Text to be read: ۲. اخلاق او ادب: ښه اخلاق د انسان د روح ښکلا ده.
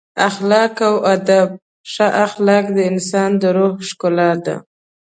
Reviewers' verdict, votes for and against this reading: rejected, 0, 2